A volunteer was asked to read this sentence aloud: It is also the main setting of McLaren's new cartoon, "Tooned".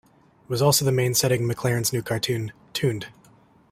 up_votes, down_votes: 2, 0